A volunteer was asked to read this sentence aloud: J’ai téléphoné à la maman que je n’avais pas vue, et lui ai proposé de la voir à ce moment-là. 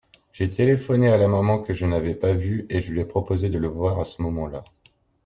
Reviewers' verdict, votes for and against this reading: rejected, 1, 2